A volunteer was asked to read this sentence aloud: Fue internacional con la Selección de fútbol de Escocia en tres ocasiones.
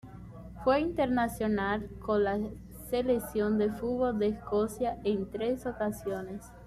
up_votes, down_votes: 1, 2